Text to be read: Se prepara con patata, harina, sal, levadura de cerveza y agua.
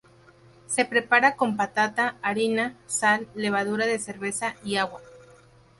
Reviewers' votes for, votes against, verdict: 0, 4, rejected